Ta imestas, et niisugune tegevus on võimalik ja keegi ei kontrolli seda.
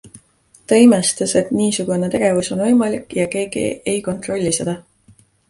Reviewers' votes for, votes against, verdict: 2, 0, accepted